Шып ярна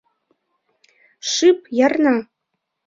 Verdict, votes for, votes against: rejected, 0, 2